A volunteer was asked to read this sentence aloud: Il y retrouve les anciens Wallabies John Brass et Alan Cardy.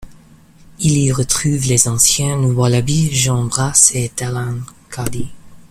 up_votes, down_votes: 1, 2